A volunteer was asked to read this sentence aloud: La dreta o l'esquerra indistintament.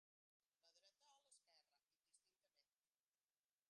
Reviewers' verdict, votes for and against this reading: rejected, 0, 2